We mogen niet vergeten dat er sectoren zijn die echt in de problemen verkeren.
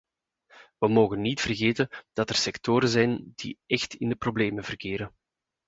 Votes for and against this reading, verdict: 2, 0, accepted